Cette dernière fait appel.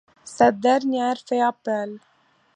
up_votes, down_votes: 2, 0